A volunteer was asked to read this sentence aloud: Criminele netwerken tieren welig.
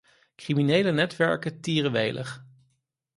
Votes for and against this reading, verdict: 4, 0, accepted